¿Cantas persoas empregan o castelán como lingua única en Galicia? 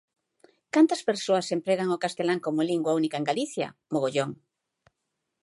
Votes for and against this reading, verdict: 0, 3, rejected